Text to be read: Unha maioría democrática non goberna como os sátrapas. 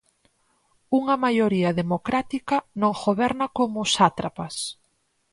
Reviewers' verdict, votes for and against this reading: accepted, 6, 0